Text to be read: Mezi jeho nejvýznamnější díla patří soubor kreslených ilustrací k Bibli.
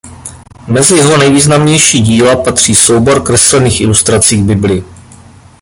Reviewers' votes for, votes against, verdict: 1, 2, rejected